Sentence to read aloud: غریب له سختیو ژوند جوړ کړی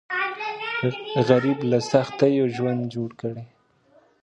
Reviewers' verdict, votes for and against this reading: rejected, 1, 2